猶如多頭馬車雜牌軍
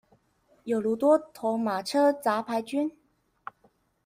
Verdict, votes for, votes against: rejected, 1, 2